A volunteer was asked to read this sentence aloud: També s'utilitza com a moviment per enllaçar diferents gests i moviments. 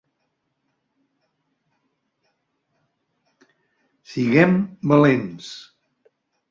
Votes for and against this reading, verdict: 0, 2, rejected